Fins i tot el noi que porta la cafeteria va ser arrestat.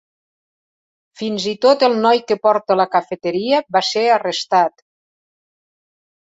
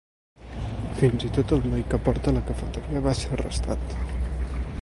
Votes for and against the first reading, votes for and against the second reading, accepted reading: 4, 0, 0, 2, first